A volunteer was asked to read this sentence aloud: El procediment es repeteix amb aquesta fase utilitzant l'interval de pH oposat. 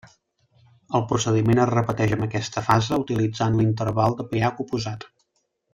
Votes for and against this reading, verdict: 1, 2, rejected